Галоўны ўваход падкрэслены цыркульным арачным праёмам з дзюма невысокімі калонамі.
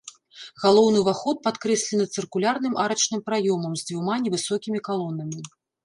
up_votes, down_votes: 1, 2